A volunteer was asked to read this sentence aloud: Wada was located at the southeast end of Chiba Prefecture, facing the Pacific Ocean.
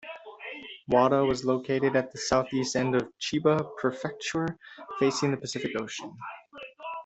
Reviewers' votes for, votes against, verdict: 1, 2, rejected